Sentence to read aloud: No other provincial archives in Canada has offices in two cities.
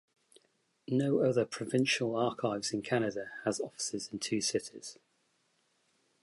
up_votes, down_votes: 2, 0